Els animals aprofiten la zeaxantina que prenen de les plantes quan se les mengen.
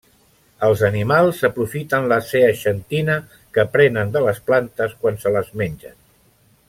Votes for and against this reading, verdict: 2, 0, accepted